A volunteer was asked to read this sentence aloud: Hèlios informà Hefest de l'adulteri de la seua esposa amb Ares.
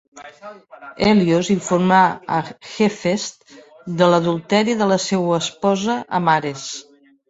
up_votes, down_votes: 2, 3